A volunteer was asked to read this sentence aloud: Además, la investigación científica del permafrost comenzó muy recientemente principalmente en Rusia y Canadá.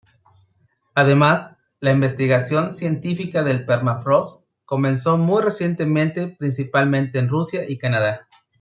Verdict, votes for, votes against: accepted, 2, 0